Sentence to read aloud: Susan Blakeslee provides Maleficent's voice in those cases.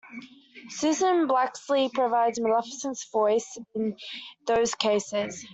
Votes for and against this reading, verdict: 2, 0, accepted